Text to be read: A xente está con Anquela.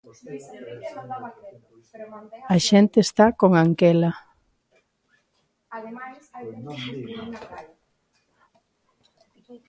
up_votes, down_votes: 1, 2